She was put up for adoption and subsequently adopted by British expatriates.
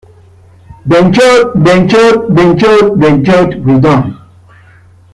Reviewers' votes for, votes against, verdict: 0, 2, rejected